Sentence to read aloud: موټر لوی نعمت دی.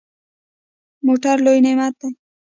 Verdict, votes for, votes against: rejected, 1, 2